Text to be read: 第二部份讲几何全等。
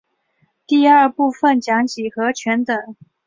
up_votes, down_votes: 4, 0